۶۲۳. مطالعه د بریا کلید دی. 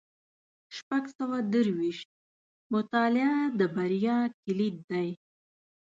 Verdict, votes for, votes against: rejected, 0, 2